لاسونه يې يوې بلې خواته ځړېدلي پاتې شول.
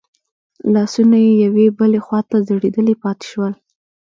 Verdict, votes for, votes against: rejected, 1, 2